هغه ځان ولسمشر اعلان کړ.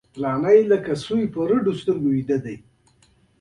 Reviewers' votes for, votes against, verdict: 0, 2, rejected